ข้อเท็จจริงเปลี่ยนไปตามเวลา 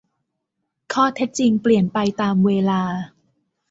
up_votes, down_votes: 2, 0